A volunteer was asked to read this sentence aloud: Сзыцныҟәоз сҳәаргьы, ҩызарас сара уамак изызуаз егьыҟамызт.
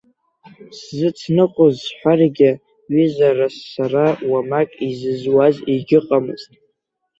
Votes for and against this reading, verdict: 0, 2, rejected